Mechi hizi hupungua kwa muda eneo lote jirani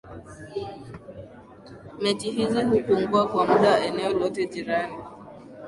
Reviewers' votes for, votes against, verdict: 17, 3, accepted